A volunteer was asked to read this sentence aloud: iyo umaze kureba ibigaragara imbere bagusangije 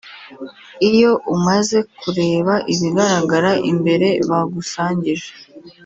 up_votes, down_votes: 2, 1